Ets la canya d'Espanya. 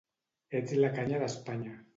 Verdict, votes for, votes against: rejected, 0, 2